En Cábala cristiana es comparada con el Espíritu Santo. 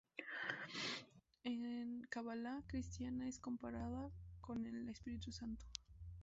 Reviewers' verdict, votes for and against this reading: rejected, 0, 4